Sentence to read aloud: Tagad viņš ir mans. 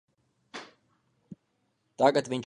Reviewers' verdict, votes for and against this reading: rejected, 0, 2